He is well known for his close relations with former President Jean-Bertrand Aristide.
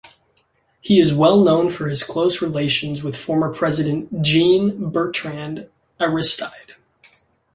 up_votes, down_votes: 3, 0